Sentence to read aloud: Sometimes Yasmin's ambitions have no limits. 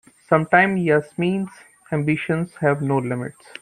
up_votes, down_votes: 2, 0